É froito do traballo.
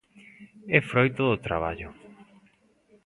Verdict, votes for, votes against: accepted, 2, 0